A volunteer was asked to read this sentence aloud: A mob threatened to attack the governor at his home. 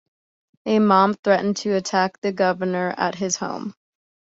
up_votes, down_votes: 1, 2